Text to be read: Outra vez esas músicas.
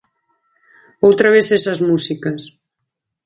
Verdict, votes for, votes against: accepted, 4, 0